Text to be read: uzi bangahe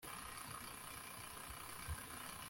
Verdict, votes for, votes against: rejected, 1, 2